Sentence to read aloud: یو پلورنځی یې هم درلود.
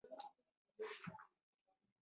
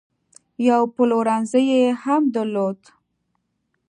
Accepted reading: second